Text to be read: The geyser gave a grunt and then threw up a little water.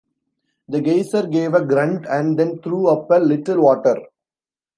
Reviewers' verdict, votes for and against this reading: rejected, 0, 2